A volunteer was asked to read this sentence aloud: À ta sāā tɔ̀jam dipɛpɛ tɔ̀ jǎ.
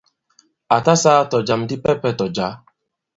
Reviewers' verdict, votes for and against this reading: accepted, 2, 0